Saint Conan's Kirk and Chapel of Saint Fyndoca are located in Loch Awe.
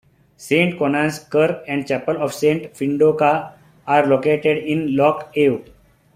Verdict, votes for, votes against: accepted, 2, 0